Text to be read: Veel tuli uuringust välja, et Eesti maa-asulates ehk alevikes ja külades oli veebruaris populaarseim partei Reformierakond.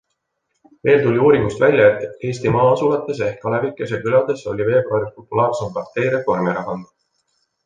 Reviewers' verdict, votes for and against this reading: accepted, 3, 1